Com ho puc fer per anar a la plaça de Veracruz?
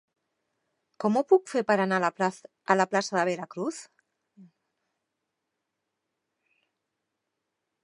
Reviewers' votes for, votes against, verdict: 0, 3, rejected